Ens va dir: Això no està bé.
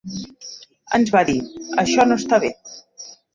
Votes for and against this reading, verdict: 2, 1, accepted